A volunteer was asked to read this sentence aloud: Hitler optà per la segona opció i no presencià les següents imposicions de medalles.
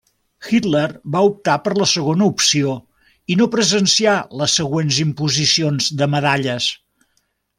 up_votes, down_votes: 0, 2